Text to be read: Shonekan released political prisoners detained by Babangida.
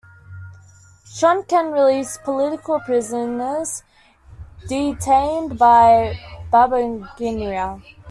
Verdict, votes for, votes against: rejected, 1, 2